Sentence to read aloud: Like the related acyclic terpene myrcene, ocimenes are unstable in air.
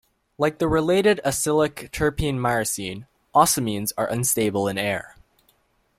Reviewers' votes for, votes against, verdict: 1, 2, rejected